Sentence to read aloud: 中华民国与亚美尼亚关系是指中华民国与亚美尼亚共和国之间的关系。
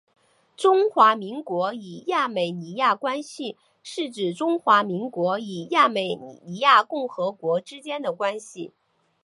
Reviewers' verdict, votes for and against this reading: accepted, 4, 0